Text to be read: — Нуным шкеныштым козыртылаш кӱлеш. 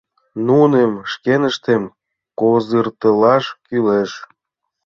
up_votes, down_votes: 1, 4